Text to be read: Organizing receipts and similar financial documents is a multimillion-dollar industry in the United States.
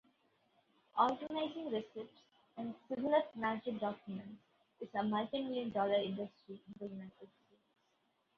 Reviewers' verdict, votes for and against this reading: rejected, 1, 2